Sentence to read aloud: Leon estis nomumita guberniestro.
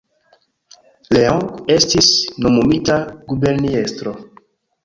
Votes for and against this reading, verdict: 2, 0, accepted